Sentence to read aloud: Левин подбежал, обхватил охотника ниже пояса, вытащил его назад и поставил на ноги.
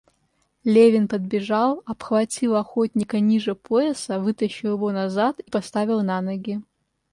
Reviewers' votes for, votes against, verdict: 2, 0, accepted